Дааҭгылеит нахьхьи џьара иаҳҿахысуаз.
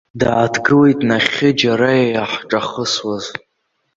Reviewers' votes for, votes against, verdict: 1, 2, rejected